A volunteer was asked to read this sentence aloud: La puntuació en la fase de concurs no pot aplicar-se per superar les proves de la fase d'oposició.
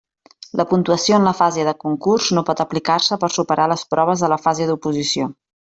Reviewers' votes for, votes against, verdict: 2, 0, accepted